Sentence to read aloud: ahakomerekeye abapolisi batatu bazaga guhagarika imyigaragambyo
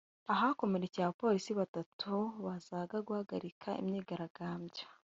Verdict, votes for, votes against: rejected, 0, 2